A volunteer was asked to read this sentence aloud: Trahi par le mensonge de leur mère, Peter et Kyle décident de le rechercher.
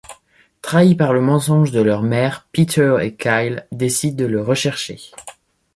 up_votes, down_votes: 2, 0